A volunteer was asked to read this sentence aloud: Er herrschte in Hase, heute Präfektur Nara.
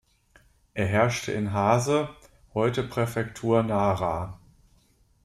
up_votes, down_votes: 2, 0